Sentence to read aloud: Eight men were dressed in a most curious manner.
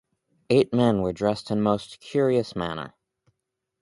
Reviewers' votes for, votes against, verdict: 2, 2, rejected